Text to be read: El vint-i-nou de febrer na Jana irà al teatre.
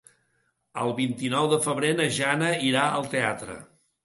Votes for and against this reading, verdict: 2, 0, accepted